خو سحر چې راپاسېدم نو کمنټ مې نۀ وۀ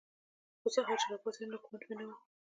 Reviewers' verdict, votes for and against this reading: accepted, 2, 1